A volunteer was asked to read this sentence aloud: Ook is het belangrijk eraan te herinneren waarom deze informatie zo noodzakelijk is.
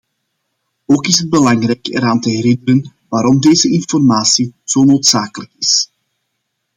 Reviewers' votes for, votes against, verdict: 2, 0, accepted